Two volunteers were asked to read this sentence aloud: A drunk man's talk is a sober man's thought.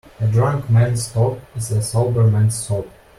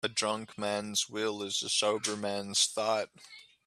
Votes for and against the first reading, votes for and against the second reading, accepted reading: 2, 0, 0, 2, first